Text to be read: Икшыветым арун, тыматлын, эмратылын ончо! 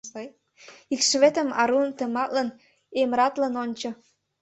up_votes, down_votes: 1, 2